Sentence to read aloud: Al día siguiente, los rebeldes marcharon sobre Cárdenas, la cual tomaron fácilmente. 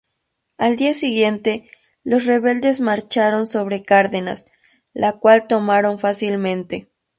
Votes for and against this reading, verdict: 2, 0, accepted